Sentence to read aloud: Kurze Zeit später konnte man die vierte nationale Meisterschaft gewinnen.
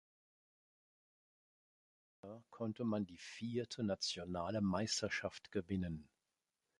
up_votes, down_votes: 1, 2